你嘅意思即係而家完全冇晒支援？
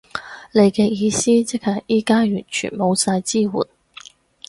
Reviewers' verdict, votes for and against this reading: rejected, 2, 4